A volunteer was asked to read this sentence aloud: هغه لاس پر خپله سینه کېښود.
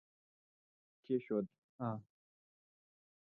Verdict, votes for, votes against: rejected, 0, 2